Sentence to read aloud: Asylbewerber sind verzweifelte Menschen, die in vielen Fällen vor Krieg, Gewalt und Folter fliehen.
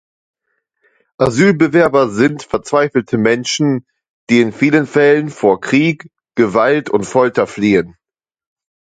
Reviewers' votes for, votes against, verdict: 2, 0, accepted